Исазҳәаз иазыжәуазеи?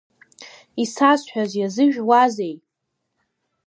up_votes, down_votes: 2, 0